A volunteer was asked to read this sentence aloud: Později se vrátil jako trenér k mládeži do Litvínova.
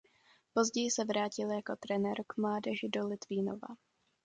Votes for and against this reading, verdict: 2, 0, accepted